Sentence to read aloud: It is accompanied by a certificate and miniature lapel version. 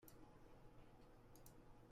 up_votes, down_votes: 0, 2